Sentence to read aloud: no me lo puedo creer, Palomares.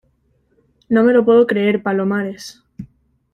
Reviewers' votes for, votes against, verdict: 2, 0, accepted